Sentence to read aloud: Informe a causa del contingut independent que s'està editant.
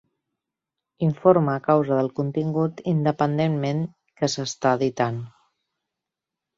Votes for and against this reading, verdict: 2, 3, rejected